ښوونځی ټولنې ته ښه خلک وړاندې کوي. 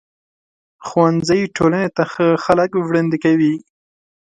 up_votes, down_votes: 2, 0